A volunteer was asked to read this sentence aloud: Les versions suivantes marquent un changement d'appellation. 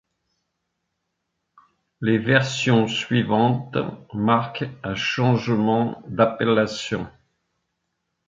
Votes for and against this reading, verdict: 2, 0, accepted